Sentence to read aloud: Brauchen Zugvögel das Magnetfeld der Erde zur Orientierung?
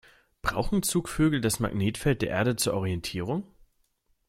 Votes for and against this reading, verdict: 2, 0, accepted